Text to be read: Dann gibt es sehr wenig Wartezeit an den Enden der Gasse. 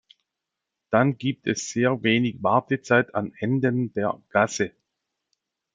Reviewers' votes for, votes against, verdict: 0, 2, rejected